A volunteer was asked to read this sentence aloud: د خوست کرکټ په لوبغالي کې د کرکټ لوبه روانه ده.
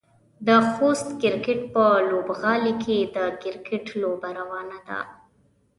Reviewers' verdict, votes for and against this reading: accepted, 2, 0